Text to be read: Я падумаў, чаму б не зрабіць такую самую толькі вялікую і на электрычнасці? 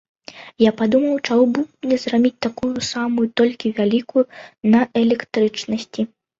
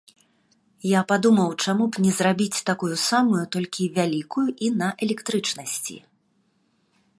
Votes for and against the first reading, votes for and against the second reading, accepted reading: 1, 2, 2, 0, second